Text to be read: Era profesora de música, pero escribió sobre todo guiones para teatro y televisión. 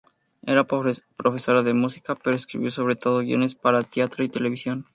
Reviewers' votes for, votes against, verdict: 2, 2, rejected